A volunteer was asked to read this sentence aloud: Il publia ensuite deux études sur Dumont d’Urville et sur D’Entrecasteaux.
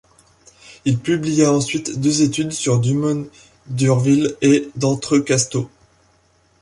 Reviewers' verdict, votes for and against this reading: rejected, 0, 2